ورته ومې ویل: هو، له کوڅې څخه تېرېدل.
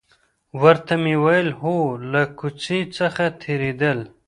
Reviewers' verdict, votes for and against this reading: rejected, 1, 2